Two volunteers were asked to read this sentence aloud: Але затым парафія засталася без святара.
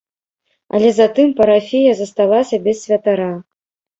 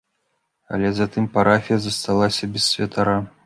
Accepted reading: second